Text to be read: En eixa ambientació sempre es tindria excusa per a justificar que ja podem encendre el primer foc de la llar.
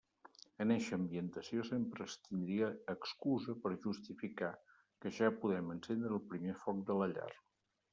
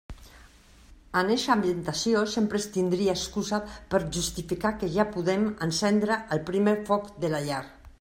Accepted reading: second